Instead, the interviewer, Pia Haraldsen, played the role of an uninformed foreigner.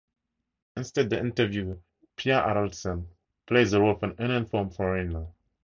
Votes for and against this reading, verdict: 0, 2, rejected